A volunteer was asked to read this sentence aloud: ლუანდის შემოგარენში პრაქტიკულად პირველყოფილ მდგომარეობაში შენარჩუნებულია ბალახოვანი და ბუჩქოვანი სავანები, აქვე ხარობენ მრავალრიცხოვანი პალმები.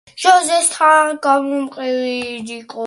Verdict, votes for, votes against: rejected, 0, 2